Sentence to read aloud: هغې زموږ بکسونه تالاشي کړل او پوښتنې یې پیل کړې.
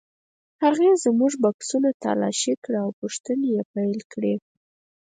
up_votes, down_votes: 2, 4